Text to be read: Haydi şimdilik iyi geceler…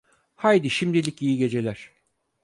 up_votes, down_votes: 4, 0